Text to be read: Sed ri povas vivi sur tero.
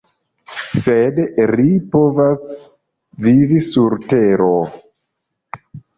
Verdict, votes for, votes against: accepted, 2, 0